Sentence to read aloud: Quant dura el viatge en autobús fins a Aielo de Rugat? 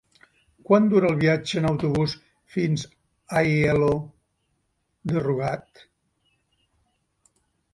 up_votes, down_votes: 0, 2